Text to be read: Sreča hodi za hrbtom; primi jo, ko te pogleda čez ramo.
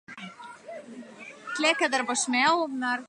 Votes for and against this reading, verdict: 0, 2, rejected